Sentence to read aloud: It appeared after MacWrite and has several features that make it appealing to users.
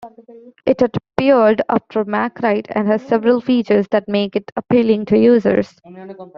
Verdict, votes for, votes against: rejected, 0, 2